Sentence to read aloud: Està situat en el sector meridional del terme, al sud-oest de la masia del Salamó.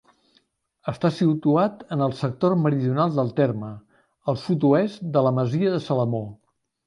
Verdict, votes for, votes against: rejected, 2, 3